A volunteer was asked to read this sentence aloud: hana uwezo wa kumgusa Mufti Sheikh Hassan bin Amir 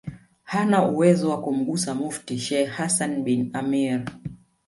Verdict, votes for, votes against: accepted, 2, 1